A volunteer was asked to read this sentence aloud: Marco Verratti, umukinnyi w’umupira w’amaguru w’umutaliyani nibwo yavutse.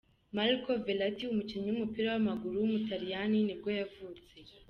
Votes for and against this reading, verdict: 2, 0, accepted